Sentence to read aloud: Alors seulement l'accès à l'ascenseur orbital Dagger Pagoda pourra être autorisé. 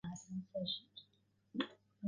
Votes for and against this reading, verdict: 0, 2, rejected